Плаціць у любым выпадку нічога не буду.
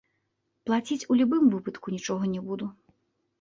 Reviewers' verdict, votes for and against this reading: rejected, 0, 2